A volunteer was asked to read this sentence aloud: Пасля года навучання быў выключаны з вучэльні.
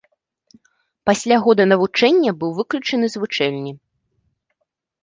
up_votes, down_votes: 0, 2